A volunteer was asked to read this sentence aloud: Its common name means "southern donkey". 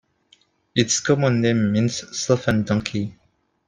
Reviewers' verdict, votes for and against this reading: rejected, 1, 2